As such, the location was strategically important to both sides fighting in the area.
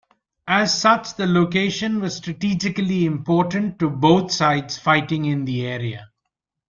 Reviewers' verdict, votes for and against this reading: accepted, 2, 0